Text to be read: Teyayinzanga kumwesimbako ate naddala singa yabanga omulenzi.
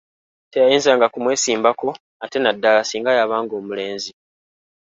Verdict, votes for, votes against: accepted, 3, 0